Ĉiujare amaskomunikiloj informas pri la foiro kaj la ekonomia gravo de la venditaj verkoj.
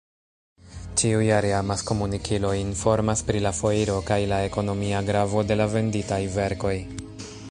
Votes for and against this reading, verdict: 2, 0, accepted